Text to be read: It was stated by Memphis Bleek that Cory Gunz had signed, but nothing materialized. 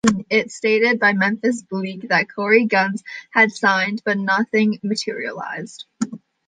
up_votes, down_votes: 1, 2